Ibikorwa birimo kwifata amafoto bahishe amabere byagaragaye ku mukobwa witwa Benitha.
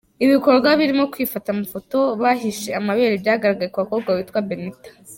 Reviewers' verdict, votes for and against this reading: accepted, 2, 0